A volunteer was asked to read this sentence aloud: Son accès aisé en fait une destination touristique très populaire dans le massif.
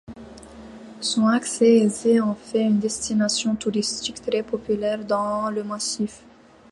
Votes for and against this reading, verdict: 2, 0, accepted